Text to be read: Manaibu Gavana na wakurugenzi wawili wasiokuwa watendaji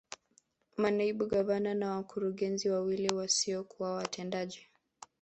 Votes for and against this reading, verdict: 0, 2, rejected